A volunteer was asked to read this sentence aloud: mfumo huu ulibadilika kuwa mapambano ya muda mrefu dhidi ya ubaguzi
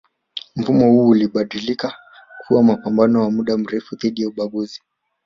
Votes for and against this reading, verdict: 1, 2, rejected